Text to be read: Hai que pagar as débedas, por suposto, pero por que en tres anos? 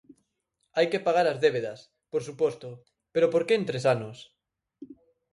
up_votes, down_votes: 4, 0